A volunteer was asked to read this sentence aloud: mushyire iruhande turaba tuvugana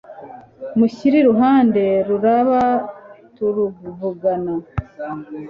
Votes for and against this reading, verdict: 2, 0, accepted